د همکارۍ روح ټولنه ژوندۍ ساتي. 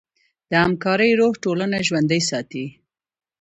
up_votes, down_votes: 2, 0